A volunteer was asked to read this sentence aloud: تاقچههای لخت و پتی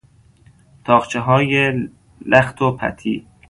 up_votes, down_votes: 0, 2